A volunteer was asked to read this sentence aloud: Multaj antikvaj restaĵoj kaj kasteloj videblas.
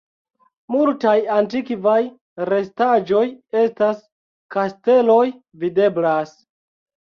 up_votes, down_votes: 1, 2